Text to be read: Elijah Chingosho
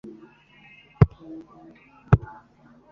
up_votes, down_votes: 1, 2